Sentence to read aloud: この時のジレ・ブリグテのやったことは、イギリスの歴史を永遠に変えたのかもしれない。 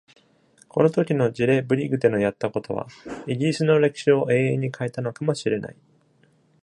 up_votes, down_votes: 2, 0